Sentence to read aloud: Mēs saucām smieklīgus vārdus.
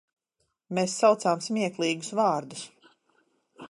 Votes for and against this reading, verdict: 2, 0, accepted